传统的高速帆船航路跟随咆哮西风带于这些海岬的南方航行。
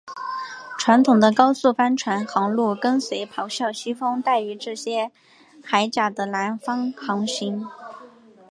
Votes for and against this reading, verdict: 6, 0, accepted